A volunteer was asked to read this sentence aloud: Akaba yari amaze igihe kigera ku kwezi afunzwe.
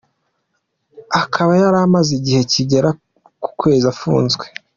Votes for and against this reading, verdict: 2, 1, accepted